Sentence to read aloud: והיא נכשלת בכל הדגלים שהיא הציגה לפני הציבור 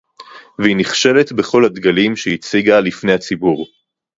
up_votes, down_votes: 2, 0